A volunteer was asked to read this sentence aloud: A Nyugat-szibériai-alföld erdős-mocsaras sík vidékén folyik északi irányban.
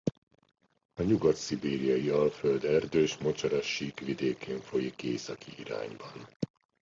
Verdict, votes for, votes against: accepted, 2, 0